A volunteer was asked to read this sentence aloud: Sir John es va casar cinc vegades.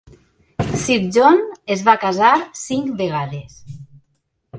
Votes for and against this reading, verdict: 0, 2, rejected